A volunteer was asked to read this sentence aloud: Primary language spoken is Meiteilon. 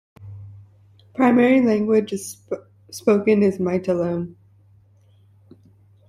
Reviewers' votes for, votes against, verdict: 0, 2, rejected